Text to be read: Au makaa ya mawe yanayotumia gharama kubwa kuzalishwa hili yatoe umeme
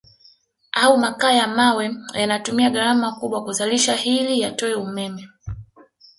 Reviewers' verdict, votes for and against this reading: accepted, 2, 0